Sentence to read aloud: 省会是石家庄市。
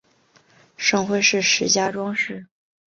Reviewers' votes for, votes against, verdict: 2, 0, accepted